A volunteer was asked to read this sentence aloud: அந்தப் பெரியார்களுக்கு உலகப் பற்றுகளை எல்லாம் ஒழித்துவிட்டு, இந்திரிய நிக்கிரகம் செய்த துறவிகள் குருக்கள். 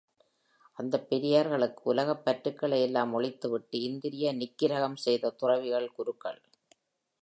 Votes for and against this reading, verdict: 2, 0, accepted